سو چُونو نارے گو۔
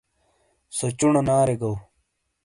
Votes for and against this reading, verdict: 2, 0, accepted